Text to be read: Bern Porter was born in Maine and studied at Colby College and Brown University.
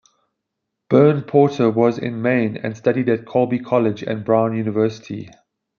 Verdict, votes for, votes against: rejected, 1, 2